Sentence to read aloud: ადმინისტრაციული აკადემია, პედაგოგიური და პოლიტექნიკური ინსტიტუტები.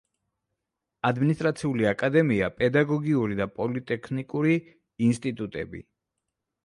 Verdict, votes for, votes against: accepted, 2, 0